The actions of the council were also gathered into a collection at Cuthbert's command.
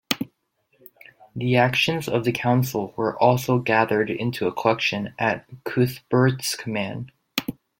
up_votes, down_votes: 1, 2